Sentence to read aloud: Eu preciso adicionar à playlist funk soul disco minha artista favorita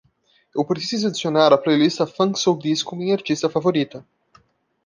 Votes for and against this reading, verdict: 0, 2, rejected